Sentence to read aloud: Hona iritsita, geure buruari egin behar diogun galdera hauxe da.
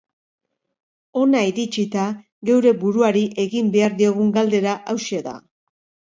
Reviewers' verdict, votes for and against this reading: accepted, 2, 0